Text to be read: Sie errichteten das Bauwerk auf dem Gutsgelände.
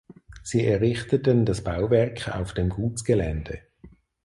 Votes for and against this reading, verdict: 2, 4, rejected